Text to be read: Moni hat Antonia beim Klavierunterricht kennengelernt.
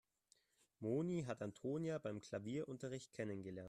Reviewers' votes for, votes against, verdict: 1, 2, rejected